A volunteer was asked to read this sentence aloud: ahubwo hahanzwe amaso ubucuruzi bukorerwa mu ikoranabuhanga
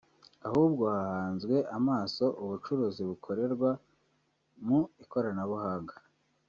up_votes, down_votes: 1, 2